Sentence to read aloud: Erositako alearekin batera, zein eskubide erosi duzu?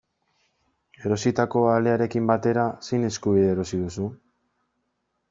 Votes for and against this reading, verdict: 2, 0, accepted